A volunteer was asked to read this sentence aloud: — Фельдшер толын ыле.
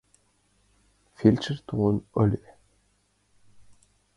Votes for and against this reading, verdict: 2, 0, accepted